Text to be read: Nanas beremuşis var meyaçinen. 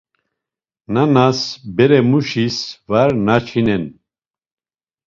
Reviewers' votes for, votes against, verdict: 0, 2, rejected